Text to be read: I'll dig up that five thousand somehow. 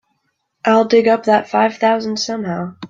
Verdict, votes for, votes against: accepted, 2, 0